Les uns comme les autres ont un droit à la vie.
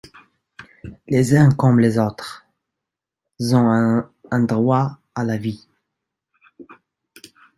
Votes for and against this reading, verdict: 1, 2, rejected